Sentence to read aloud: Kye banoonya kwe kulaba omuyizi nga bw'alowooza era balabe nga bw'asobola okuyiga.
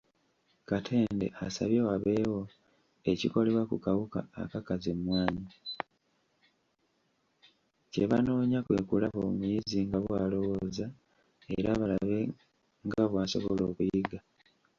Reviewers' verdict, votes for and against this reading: rejected, 1, 2